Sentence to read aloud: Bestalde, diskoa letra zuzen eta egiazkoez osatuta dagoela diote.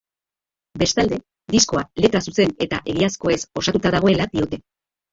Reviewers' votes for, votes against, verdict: 3, 2, accepted